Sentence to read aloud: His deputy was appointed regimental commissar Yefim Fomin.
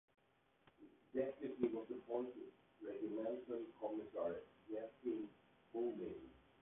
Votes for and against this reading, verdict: 0, 2, rejected